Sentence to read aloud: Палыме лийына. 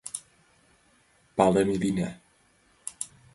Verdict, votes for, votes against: accepted, 2, 0